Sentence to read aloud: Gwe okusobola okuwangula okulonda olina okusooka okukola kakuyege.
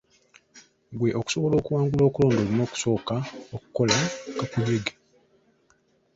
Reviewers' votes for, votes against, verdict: 1, 3, rejected